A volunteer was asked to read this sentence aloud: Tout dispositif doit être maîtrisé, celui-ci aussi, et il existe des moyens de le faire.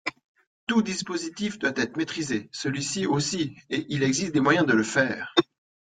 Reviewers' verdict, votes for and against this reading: accepted, 2, 1